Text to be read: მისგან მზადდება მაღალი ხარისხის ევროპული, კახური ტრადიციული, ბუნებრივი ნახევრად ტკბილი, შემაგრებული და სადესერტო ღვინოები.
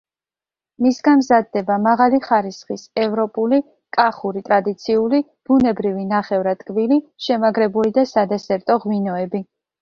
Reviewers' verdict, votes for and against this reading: accepted, 2, 0